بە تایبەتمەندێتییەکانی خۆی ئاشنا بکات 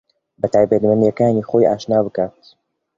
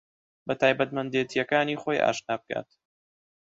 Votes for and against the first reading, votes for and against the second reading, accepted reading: 1, 2, 2, 0, second